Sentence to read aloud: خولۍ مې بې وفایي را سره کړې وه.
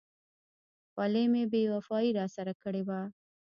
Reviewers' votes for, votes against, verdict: 2, 1, accepted